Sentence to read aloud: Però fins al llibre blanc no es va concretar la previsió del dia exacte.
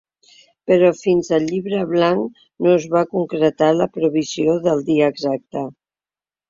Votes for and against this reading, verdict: 2, 0, accepted